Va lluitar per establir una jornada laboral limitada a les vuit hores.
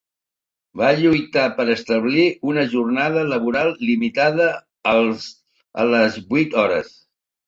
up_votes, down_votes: 0, 2